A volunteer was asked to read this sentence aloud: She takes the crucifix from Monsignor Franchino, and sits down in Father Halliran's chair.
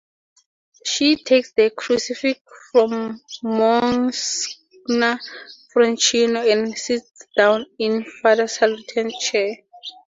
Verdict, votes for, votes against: rejected, 0, 2